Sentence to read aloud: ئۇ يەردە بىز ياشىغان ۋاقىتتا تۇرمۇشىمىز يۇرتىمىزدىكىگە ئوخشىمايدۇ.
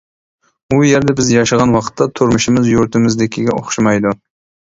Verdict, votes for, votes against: accepted, 2, 1